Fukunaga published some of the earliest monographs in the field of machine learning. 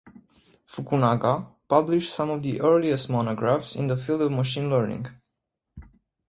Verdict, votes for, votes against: accepted, 4, 0